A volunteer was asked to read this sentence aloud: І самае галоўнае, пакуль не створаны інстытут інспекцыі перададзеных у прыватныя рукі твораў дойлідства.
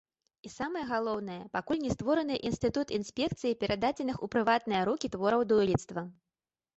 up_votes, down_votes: 2, 0